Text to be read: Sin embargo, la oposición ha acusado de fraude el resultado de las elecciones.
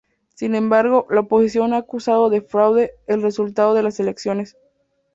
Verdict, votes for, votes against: accepted, 2, 0